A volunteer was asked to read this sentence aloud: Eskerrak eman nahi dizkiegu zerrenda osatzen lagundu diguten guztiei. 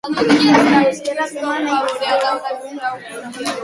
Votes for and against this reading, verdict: 0, 2, rejected